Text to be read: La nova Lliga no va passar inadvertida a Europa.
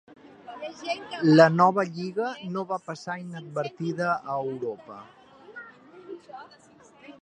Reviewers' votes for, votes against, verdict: 0, 2, rejected